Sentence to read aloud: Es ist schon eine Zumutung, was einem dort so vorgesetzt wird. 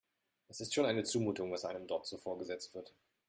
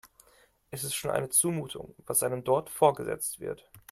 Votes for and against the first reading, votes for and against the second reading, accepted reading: 2, 0, 1, 2, first